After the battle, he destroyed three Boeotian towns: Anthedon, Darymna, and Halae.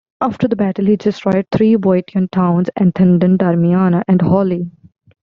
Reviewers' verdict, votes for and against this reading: rejected, 1, 2